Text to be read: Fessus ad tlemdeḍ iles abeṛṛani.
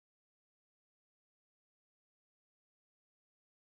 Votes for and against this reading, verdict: 0, 2, rejected